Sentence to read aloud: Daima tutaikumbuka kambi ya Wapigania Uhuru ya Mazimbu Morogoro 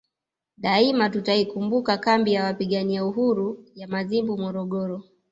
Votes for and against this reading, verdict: 0, 2, rejected